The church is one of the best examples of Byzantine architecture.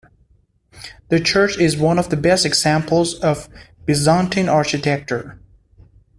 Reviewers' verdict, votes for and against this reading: rejected, 1, 2